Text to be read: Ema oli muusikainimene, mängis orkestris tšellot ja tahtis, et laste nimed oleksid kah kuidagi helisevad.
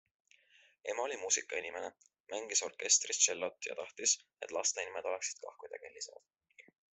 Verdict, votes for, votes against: accepted, 2, 0